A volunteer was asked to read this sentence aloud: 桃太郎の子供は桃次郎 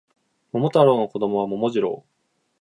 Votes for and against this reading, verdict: 2, 0, accepted